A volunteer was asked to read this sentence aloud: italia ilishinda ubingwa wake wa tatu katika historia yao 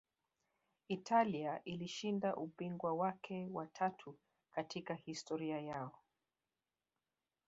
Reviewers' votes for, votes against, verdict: 2, 0, accepted